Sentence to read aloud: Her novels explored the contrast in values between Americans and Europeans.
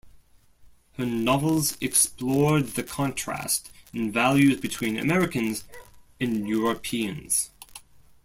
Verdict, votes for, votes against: accepted, 2, 0